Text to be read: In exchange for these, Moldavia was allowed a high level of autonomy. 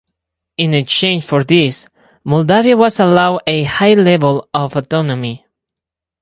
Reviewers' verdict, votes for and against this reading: rejected, 2, 4